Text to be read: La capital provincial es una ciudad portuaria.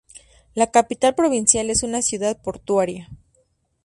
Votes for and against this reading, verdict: 2, 0, accepted